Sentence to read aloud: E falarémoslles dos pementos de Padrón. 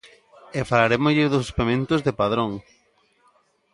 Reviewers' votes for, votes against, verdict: 1, 2, rejected